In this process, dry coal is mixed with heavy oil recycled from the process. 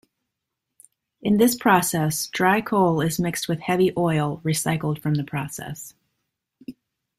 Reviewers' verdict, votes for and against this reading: accepted, 2, 0